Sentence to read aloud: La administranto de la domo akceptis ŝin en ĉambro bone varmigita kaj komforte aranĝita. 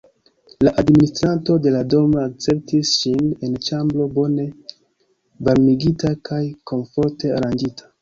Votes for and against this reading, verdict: 3, 2, accepted